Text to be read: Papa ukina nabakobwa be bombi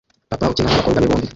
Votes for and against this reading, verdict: 0, 2, rejected